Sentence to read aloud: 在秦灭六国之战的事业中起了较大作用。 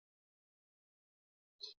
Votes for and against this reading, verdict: 1, 2, rejected